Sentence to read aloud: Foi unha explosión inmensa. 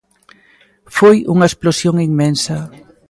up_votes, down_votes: 2, 1